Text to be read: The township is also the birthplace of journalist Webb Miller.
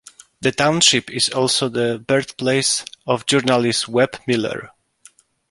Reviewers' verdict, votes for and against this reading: accepted, 2, 1